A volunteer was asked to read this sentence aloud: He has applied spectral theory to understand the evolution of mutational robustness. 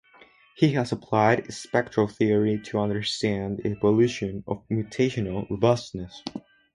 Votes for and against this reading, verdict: 2, 2, rejected